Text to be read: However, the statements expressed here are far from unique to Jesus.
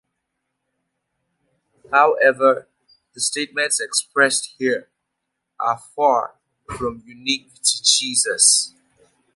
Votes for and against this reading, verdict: 2, 0, accepted